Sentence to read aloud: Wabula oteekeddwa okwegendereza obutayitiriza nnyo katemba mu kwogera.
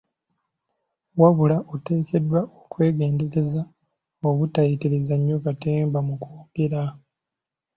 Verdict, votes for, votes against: accepted, 2, 0